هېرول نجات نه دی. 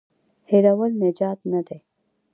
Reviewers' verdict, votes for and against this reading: accepted, 2, 0